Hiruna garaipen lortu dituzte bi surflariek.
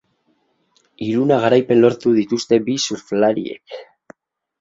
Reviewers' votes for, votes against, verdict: 2, 4, rejected